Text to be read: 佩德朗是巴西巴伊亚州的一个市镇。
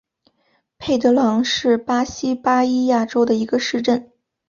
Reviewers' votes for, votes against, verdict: 2, 0, accepted